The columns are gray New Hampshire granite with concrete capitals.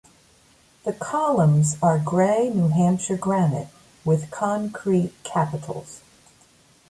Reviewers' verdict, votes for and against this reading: accepted, 2, 0